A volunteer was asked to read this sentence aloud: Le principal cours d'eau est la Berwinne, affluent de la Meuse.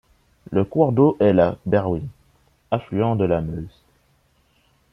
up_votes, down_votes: 0, 2